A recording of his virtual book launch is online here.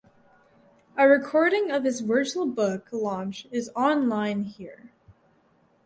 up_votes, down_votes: 0, 2